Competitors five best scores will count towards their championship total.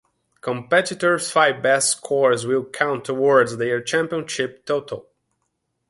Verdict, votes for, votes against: accepted, 2, 1